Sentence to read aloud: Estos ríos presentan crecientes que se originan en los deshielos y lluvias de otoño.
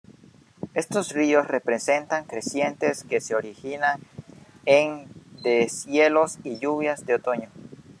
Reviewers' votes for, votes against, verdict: 0, 2, rejected